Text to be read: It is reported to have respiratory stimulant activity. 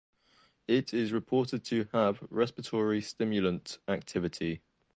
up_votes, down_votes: 2, 0